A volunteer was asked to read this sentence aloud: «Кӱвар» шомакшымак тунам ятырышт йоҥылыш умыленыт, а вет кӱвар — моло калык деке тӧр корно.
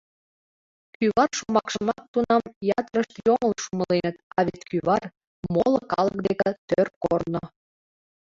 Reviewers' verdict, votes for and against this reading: accepted, 2, 1